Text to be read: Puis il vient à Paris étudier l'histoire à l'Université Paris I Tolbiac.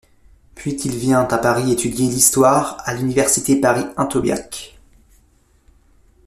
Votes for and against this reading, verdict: 0, 2, rejected